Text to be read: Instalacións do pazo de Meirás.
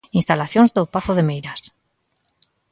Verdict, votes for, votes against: accepted, 2, 0